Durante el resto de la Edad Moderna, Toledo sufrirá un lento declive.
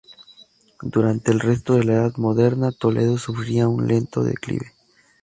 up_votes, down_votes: 2, 2